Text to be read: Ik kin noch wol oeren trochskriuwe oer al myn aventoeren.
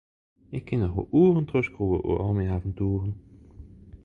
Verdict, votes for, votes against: rejected, 0, 2